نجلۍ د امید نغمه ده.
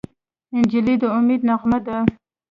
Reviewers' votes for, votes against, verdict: 2, 0, accepted